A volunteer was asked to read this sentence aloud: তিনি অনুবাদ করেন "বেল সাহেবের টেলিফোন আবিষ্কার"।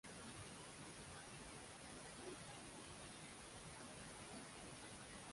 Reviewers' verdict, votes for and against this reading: rejected, 0, 8